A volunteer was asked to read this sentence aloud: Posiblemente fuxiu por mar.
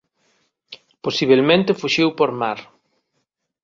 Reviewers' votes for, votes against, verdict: 0, 2, rejected